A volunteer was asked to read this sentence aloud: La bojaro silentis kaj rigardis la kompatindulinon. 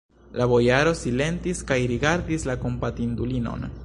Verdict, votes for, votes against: rejected, 0, 2